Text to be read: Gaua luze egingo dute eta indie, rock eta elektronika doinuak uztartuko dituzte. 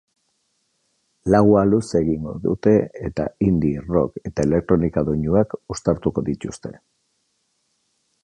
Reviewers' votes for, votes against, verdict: 0, 3, rejected